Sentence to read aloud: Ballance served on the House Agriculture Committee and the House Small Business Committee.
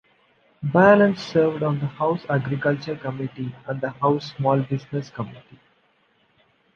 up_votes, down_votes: 2, 1